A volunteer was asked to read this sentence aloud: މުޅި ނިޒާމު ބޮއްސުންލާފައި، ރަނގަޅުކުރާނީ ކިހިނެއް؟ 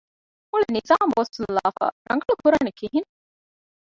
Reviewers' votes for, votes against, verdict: 1, 3, rejected